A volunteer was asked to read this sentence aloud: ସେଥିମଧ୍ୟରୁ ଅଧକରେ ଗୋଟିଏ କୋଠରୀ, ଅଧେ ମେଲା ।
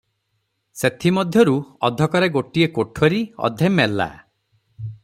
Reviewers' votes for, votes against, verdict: 3, 0, accepted